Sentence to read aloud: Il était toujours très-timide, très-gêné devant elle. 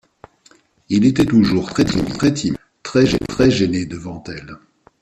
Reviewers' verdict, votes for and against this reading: rejected, 1, 2